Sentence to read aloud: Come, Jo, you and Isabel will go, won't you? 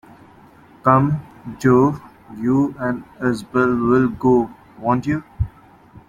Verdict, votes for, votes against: rejected, 0, 2